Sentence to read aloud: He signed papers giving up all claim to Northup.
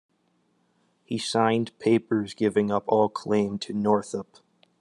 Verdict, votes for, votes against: accepted, 2, 0